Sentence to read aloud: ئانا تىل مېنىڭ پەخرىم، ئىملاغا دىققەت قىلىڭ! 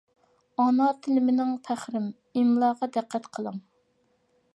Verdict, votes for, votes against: accepted, 2, 0